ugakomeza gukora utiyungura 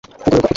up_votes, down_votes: 0, 2